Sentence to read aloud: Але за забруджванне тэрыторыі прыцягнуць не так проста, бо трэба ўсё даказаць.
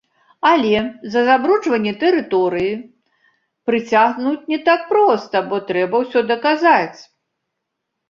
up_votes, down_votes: 1, 2